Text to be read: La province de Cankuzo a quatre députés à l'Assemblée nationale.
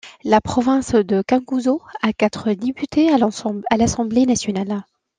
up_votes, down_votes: 0, 2